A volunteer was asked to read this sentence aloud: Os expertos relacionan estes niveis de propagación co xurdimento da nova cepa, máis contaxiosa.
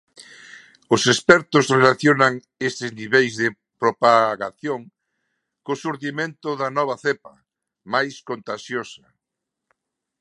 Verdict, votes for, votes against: accepted, 2, 0